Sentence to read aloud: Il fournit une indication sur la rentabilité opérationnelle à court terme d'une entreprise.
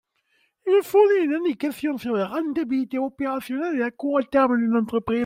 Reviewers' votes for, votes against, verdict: 1, 2, rejected